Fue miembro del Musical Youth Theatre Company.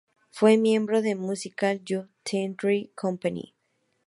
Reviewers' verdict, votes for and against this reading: accepted, 2, 0